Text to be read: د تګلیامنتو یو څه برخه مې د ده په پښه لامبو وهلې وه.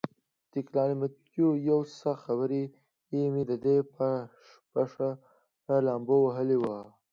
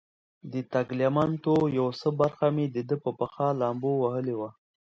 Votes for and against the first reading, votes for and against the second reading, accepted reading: 2, 0, 0, 2, first